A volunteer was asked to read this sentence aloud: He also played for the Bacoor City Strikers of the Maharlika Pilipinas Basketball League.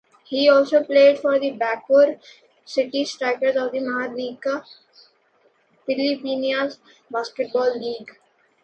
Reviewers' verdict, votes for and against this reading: rejected, 1, 2